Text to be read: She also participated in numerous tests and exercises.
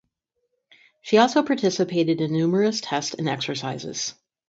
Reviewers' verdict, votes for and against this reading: accepted, 4, 0